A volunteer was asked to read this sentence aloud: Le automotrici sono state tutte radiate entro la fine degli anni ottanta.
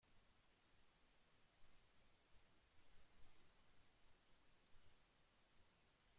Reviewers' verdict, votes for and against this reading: rejected, 0, 2